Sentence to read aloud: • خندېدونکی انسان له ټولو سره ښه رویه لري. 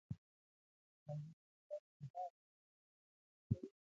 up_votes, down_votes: 0, 2